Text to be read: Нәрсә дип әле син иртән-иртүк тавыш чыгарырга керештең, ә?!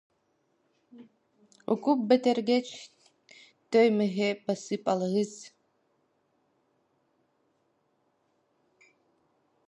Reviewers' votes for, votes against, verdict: 0, 2, rejected